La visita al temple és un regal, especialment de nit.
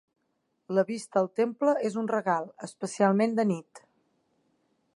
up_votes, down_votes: 0, 3